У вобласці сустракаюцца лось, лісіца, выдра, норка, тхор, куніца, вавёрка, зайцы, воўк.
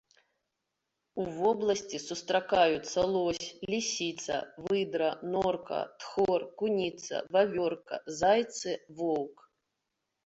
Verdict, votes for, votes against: accepted, 2, 0